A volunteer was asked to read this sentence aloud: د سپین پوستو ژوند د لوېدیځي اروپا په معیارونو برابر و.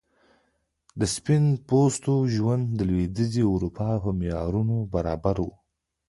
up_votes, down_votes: 1, 2